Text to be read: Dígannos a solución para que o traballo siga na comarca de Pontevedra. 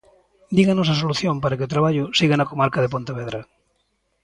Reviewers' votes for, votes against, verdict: 2, 0, accepted